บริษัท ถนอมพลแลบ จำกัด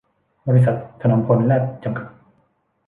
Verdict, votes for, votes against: accepted, 3, 2